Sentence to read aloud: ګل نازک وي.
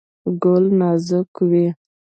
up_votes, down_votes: 2, 0